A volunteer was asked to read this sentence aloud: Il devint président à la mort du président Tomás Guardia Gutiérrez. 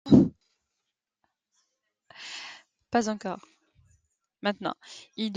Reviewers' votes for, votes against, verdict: 0, 2, rejected